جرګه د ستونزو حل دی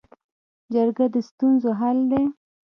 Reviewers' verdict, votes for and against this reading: rejected, 1, 2